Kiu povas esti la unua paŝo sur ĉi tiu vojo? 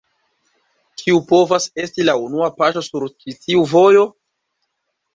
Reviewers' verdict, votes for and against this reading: rejected, 1, 2